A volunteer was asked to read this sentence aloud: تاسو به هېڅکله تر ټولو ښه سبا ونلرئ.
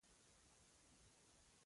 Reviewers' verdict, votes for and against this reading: rejected, 1, 2